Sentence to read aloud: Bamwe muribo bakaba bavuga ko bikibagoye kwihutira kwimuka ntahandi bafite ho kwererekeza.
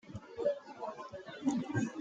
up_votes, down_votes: 0, 2